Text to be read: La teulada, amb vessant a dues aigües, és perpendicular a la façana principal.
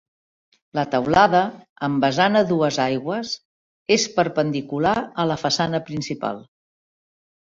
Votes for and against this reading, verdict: 2, 0, accepted